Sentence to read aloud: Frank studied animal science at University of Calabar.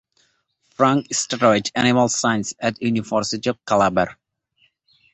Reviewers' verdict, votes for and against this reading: accepted, 2, 1